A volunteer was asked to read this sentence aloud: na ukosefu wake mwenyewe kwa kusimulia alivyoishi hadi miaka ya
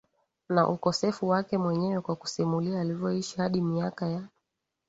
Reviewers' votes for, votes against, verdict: 3, 1, accepted